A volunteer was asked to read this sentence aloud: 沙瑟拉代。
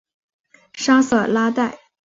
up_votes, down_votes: 4, 0